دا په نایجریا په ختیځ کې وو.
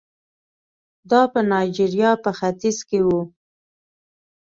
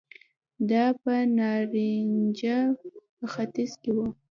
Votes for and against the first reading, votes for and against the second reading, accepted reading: 2, 0, 1, 2, first